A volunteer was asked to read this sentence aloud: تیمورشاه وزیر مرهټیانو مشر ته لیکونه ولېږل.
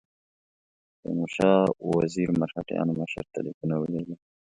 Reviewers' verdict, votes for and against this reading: accepted, 2, 0